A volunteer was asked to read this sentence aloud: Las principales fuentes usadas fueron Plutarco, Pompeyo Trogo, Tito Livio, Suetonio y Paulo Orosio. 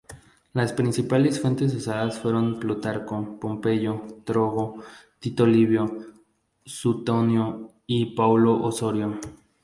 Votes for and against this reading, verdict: 0, 4, rejected